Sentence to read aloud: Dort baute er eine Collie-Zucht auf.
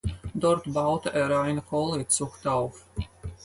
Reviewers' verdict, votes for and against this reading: accepted, 4, 0